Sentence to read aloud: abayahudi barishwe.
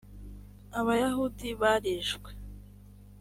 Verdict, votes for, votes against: accepted, 3, 0